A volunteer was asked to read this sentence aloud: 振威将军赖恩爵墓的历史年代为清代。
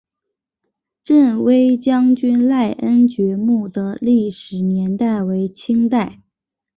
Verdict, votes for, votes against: accepted, 4, 0